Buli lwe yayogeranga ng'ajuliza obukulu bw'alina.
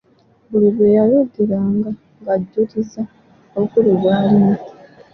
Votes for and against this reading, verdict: 1, 2, rejected